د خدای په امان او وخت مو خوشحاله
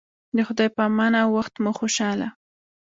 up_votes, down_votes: 2, 0